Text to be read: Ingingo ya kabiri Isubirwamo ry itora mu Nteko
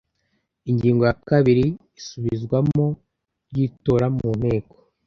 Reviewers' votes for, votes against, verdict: 0, 2, rejected